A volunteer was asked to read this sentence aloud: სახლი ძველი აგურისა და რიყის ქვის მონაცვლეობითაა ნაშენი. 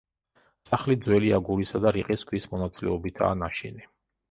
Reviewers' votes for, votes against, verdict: 2, 0, accepted